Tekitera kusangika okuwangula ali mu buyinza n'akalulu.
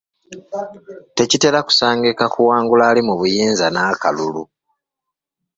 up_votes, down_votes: 1, 2